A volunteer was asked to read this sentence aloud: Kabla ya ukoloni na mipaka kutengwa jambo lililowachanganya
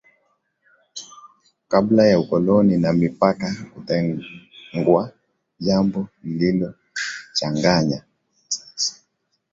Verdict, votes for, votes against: accepted, 3, 1